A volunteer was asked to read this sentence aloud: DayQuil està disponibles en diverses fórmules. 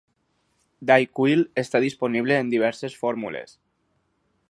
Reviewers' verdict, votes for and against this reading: accepted, 4, 0